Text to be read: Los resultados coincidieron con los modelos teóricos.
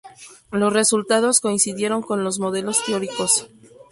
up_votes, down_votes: 2, 0